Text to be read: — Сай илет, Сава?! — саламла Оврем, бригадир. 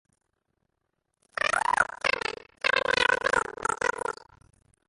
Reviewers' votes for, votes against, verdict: 0, 2, rejected